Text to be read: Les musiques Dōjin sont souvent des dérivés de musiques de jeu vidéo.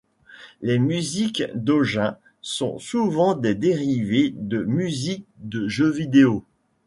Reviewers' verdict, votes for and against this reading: rejected, 0, 2